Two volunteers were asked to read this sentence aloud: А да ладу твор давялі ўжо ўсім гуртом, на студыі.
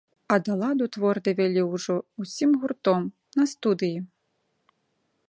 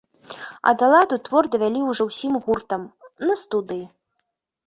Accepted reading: first